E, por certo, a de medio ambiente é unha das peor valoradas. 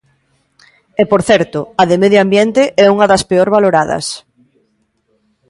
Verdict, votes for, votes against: rejected, 1, 2